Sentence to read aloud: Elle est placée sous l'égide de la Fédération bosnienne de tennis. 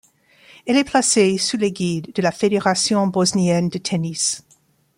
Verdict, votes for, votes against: rejected, 1, 2